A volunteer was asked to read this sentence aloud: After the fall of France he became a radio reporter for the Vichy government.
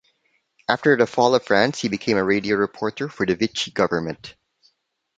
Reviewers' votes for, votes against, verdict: 2, 0, accepted